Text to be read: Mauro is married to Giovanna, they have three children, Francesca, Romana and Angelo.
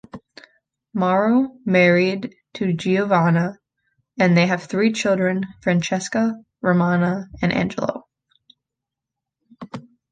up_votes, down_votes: 1, 2